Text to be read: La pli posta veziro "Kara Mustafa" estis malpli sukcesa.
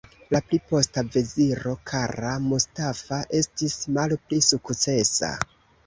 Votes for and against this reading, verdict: 2, 0, accepted